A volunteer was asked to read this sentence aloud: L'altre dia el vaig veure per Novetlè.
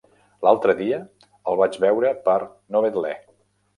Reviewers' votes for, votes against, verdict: 2, 0, accepted